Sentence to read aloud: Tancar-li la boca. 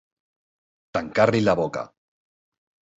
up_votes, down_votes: 3, 0